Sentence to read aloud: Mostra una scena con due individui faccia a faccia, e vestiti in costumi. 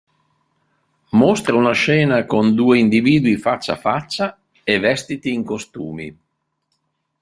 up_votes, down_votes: 1, 2